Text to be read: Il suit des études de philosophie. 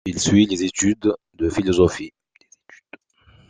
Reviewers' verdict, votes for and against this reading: accepted, 2, 1